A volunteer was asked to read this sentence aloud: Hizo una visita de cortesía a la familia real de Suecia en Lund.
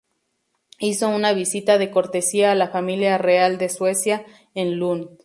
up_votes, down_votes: 0, 2